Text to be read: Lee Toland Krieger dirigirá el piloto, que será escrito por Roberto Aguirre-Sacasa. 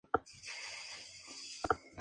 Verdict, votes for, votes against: rejected, 0, 2